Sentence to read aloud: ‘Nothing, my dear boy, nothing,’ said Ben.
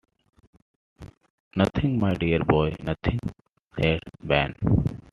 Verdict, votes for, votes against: accepted, 3, 1